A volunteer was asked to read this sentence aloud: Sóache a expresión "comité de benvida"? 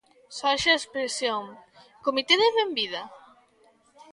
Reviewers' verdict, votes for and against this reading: rejected, 0, 3